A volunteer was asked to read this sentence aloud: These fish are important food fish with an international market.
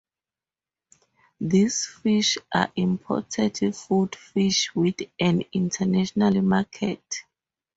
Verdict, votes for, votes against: rejected, 0, 4